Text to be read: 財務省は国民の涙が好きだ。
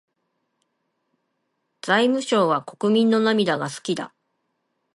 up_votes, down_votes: 2, 1